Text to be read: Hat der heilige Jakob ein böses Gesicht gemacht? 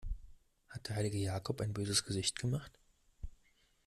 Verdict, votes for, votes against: accepted, 2, 0